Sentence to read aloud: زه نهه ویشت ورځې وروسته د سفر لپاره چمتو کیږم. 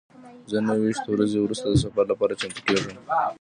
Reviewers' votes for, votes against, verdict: 1, 2, rejected